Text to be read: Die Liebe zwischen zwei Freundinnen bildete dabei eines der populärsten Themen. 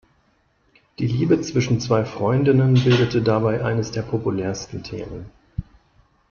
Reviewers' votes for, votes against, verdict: 2, 0, accepted